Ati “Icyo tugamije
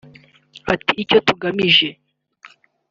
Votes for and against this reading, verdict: 3, 0, accepted